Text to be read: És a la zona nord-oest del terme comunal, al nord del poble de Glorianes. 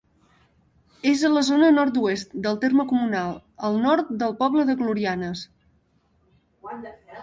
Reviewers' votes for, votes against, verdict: 1, 2, rejected